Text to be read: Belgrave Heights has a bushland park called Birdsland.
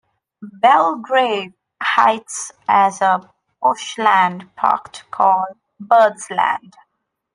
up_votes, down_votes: 0, 2